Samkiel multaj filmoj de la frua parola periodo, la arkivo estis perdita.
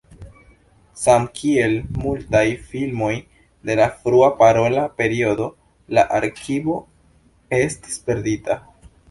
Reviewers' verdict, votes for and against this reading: accepted, 2, 0